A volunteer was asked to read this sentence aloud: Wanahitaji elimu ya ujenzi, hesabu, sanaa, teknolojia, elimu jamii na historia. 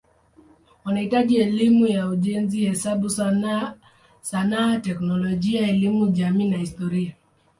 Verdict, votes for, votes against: accepted, 5, 1